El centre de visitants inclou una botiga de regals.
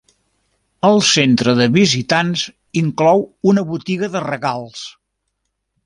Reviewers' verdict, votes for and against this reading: accepted, 3, 0